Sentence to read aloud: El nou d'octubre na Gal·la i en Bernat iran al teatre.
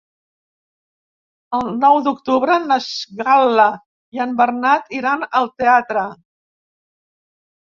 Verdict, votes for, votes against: rejected, 1, 2